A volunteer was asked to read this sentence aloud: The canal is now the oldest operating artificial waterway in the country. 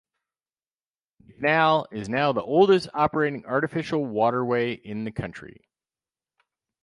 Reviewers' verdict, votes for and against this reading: rejected, 2, 4